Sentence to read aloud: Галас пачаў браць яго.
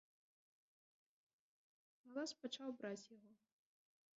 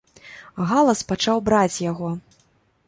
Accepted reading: second